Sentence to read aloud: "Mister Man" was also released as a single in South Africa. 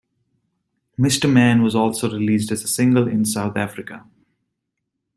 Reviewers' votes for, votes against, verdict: 2, 1, accepted